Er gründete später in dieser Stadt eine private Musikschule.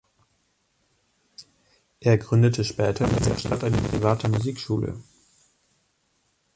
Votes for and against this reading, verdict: 1, 2, rejected